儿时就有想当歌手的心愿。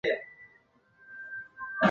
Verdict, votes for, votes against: rejected, 0, 3